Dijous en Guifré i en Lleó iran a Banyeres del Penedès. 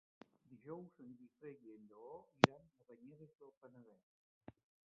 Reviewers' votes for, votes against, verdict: 1, 2, rejected